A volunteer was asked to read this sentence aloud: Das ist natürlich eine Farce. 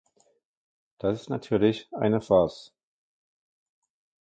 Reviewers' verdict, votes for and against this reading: rejected, 0, 2